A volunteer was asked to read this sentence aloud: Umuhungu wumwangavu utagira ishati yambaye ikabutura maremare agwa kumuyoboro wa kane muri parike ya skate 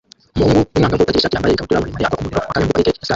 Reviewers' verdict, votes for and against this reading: rejected, 0, 2